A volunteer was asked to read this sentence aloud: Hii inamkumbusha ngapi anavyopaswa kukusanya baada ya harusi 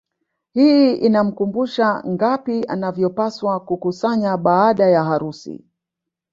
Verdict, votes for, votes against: rejected, 0, 2